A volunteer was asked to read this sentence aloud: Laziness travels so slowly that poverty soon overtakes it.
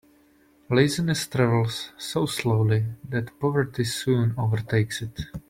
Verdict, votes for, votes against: rejected, 1, 2